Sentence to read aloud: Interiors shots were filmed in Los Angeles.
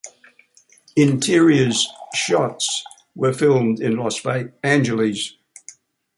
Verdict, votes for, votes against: rejected, 0, 2